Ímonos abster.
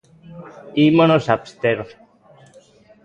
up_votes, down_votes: 2, 0